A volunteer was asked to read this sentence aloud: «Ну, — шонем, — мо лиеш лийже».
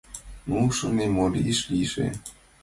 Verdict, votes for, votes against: accepted, 2, 0